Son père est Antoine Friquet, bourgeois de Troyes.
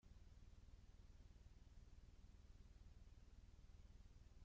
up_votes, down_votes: 0, 2